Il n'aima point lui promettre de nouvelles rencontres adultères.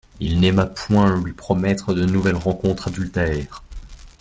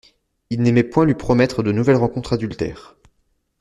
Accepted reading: first